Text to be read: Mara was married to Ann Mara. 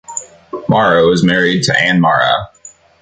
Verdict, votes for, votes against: accepted, 2, 0